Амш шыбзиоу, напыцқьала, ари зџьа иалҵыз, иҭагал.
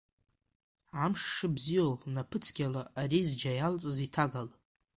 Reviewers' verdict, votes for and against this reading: accepted, 2, 0